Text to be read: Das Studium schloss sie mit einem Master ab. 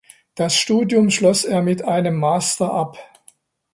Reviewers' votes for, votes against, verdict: 0, 2, rejected